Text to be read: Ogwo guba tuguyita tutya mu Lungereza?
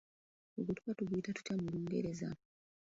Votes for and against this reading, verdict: 0, 2, rejected